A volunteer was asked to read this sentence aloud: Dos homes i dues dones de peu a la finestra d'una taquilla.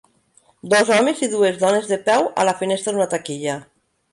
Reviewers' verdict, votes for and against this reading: accepted, 3, 1